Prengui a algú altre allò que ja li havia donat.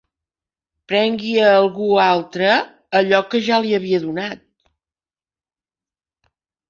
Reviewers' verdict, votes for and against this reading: accepted, 3, 1